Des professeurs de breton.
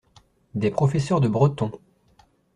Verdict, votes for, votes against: accepted, 2, 0